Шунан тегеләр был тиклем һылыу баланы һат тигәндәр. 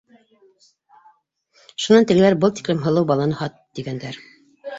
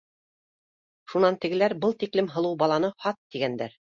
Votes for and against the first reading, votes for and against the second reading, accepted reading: 0, 2, 2, 1, second